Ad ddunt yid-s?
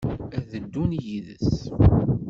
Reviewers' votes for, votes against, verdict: 0, 2, rejected